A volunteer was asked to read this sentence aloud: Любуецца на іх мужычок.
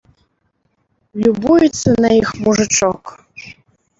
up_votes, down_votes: 1, 2